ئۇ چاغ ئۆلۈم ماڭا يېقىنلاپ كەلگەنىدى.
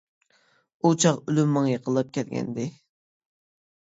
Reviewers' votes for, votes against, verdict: 0, 2, rejected